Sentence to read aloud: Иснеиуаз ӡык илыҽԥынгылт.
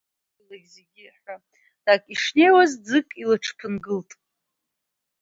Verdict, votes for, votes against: rejected, 1, 2